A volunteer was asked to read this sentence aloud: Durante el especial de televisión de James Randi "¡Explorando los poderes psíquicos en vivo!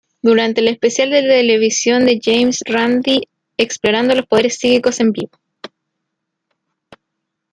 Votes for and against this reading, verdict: 1, 2, rejected